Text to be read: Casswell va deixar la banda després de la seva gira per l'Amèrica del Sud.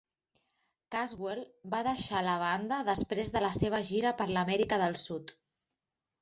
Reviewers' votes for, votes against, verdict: 2, 0, accepted